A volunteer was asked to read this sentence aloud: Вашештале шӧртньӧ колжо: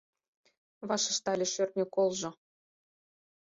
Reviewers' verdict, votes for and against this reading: accepted, 4, 0